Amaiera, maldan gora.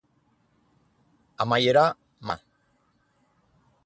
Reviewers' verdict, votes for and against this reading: rejected, 0, 4